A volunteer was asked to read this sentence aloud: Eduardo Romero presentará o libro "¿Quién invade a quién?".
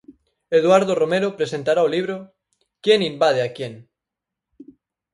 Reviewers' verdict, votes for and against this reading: accepted, 4, 0